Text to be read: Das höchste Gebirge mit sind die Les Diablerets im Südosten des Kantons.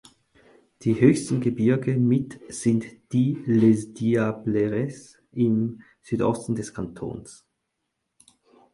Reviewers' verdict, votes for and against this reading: rejected, 2, 4